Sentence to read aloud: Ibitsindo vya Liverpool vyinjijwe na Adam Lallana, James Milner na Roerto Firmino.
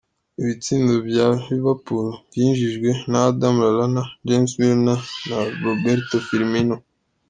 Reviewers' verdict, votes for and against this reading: rejected, 1, 2